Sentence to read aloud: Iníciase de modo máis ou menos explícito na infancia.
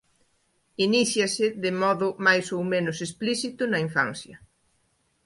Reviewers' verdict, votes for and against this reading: accepted, 2, 1